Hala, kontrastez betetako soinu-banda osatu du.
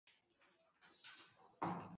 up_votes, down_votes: 0, 2